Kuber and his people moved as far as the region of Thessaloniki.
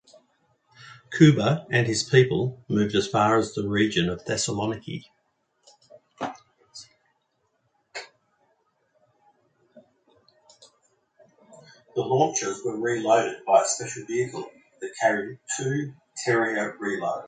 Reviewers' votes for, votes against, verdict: 0, 2, rejected